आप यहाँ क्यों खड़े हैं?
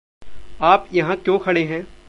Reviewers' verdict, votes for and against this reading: accepted, 2, 0